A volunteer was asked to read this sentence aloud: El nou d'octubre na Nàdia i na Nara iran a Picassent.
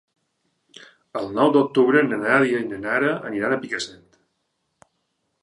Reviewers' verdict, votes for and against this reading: rejected, 0, 2